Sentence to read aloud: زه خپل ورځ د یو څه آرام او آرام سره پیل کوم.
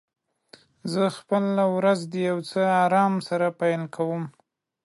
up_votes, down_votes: 0, 2